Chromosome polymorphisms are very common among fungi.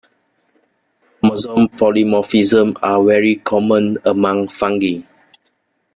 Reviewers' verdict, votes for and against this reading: rejected, 0, 2